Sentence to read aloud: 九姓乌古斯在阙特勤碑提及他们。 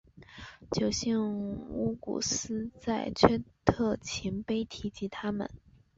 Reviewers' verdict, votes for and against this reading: rejected, 0, 2